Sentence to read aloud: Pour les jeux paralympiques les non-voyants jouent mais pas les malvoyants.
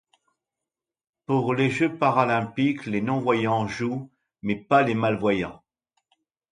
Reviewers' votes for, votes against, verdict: 2, 0, accepted